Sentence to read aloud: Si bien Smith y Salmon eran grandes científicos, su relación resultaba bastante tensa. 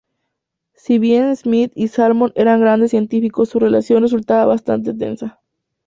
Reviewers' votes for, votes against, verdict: 2, 0, accepted